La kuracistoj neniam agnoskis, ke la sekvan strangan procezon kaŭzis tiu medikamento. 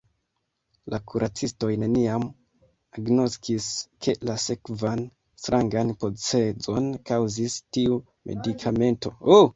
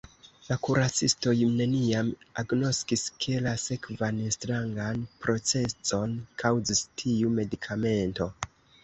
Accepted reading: second